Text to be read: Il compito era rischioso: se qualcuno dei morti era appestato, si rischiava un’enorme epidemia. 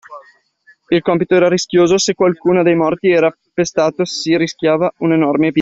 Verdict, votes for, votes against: rejected, 0, 2